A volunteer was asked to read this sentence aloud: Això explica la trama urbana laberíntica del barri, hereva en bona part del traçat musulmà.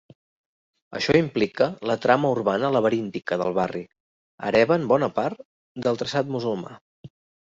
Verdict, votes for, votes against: rejected, 1, 2